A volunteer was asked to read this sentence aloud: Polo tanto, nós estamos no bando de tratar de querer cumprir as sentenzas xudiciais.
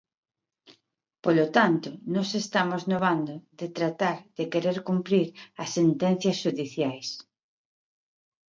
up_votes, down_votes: 2, 0